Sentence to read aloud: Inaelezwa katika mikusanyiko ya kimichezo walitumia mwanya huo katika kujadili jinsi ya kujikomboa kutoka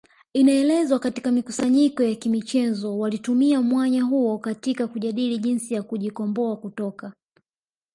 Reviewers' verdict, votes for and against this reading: accepted, 2, 0